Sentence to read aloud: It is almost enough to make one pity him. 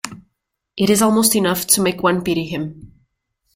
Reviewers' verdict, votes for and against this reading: accepted, 2, 0